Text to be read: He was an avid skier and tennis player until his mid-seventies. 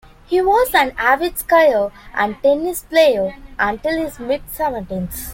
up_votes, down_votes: 0, 2